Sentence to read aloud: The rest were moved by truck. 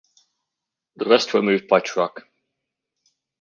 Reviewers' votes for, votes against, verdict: 2, 0, accepted